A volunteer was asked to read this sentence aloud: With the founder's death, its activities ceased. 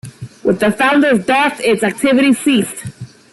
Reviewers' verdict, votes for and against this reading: accepted, 2, 0